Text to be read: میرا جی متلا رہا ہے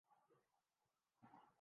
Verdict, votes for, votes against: rejected, 0, 2